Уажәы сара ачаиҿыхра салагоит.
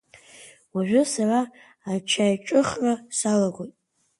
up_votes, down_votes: 2, 0